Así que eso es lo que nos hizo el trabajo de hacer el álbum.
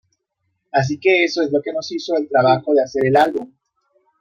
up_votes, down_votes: 2, 0